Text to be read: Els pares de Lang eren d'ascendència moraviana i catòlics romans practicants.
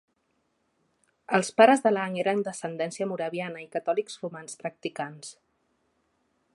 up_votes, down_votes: 2, 0